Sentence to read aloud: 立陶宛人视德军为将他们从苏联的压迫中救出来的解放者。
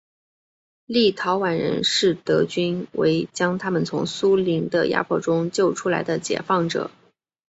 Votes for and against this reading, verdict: 3, 1, accepted